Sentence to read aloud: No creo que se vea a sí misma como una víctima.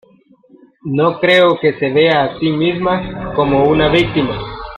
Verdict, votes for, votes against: accepted, 2, 1